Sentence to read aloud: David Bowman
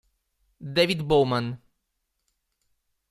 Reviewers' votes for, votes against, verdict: 2, 0, accepted